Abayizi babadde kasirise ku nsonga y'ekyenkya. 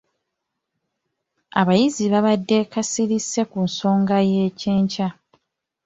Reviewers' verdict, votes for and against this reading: accepted, 2, 0